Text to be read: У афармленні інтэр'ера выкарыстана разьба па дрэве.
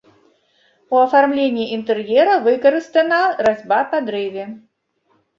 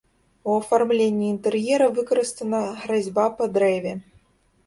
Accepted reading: first